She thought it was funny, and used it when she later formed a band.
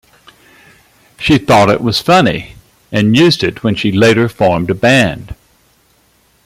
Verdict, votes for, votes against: accepted, 2, 0